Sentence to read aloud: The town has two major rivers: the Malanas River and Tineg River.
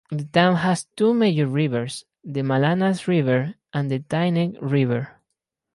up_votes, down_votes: 0, 2